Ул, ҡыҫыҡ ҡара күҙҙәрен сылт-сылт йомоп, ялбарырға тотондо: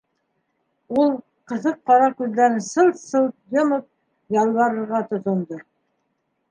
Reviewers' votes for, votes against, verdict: 1, 2, rejected